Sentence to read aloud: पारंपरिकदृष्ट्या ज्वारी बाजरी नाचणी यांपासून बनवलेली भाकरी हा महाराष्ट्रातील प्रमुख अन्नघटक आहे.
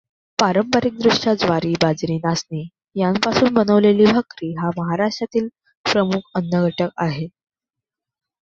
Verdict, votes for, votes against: accepted, 2, 0